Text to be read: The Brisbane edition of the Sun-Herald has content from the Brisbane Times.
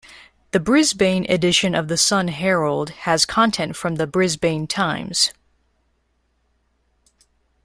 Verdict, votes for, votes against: rejected, 1, 2